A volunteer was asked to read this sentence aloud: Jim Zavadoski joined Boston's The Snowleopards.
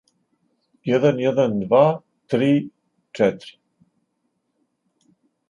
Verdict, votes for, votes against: rejected, 0, 2